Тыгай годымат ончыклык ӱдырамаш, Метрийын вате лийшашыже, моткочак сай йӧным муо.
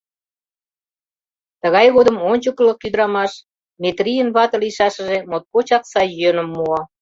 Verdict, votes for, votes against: rejected, 1, 2